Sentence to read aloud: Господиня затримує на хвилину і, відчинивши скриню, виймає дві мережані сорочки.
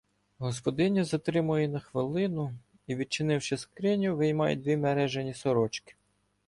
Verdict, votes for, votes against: accepted, 2, 0